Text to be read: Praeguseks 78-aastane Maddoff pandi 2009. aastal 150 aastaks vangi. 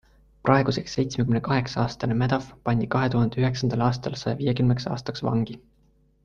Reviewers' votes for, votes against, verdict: 0, 2, rejected